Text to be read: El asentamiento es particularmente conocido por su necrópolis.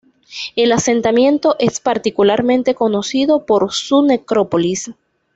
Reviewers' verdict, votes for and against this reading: accepted, 2, 0